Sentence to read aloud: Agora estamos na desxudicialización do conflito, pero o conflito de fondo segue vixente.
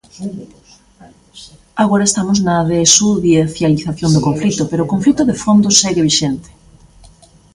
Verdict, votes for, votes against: rejected, 0, 2